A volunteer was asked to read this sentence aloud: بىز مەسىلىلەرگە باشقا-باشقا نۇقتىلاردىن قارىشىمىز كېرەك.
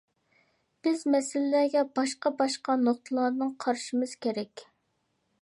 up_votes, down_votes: 2, 1